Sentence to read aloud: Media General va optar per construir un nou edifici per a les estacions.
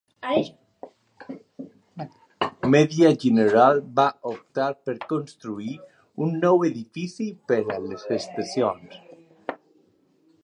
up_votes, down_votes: 2, 0